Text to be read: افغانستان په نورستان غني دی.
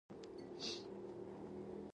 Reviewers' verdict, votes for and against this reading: rejected, 1, 2